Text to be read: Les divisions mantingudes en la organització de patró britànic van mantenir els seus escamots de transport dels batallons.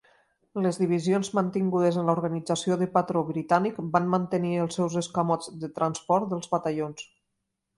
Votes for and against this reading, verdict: 3, 0, accepted